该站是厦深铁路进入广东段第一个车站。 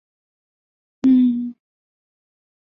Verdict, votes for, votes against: rejected, 0, 2